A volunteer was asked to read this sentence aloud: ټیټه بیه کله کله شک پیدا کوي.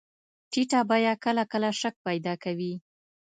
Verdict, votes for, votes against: accepted, 2, 0